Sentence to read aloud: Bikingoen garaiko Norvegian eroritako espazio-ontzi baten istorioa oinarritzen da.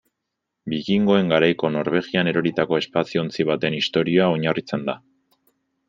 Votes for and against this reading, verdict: 0, 2, rejected